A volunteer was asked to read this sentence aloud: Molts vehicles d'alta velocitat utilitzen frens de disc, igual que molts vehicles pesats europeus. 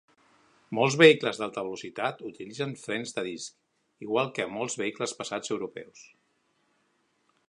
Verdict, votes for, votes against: rejected, 1, 3